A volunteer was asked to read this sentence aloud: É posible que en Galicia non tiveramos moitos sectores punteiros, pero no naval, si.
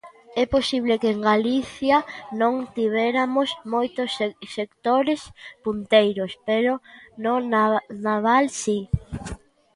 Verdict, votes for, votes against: rejected, 0, 3